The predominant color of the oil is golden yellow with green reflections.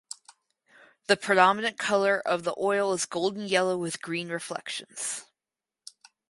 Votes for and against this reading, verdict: 4, 0, accepted